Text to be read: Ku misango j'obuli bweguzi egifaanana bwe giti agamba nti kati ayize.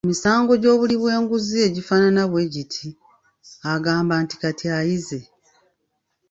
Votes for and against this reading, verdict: 0, 2, rejected